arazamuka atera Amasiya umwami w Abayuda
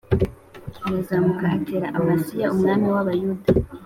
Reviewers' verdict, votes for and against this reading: accepted, 3, 0